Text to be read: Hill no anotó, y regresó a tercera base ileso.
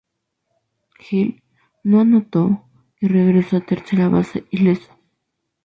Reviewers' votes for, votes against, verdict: 0, 4, rejected